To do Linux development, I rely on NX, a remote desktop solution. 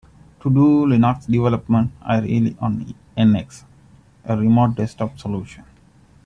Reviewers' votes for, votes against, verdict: 0, 2, rejected